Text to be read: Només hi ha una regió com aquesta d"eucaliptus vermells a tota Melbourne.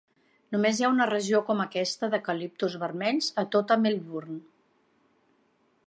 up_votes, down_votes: 2, 0